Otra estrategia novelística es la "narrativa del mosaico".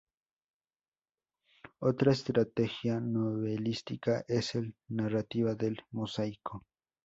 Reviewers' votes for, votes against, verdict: 0, 4, rejected